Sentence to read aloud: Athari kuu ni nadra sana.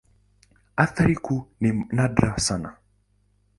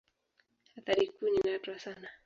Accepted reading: first